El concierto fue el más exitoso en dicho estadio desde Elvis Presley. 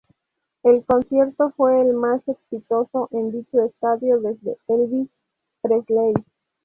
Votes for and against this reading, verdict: 2, 0, accepted